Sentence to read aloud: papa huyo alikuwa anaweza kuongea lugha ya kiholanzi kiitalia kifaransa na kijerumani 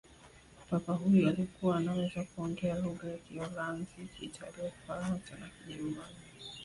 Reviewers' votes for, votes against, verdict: 0, 2, rejected